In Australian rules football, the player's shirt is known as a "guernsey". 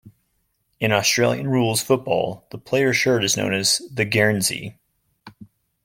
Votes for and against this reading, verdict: 1, 2, rejected